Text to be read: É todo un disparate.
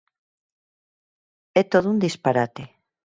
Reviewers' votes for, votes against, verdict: 4, 0, accepted